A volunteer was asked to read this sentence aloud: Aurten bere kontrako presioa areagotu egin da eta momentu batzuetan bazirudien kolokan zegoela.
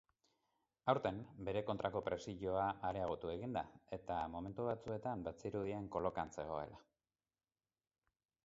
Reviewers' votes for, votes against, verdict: 4, 0, accepted